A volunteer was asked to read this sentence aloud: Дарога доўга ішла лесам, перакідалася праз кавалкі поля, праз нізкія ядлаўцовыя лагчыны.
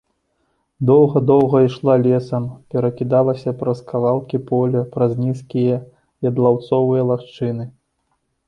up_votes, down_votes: 0, 3